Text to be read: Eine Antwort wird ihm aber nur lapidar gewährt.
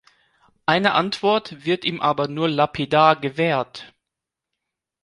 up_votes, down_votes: 2, 0